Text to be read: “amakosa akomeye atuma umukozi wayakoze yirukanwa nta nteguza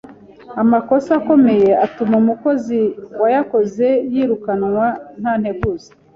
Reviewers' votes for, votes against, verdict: 2, 0, accepted